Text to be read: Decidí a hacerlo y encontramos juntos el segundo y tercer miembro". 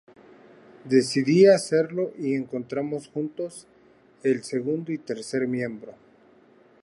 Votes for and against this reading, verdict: 2, 0, accepted